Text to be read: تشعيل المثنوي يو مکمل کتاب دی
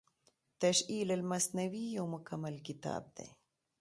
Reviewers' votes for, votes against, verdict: 2, 0, accepted